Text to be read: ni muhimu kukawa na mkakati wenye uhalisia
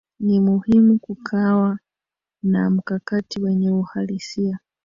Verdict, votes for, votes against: rejected, 0, 2